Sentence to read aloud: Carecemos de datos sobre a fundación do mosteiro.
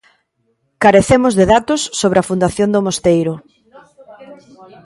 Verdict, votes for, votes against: rejected, 1, 2